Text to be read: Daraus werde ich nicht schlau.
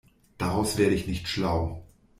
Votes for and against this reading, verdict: 2, 0, accepted